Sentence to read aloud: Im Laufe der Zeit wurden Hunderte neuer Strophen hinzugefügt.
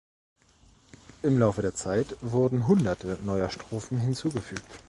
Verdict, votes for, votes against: accepted, 2, 0